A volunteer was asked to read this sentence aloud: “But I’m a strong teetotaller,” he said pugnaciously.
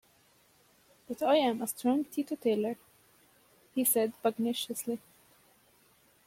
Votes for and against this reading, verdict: 2, 0, accepted